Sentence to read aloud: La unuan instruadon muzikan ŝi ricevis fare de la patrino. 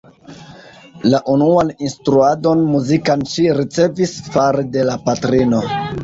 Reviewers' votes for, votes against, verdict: 2, 1, accepted